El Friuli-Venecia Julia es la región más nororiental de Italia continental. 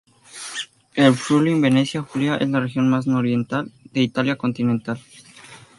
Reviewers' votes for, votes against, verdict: 2, 0, accepted